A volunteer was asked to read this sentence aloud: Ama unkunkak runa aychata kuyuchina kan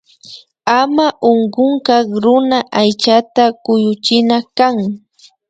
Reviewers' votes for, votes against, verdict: 2, 0, accepted